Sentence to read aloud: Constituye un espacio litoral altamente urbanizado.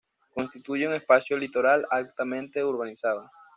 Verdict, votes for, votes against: accepted, 2, 0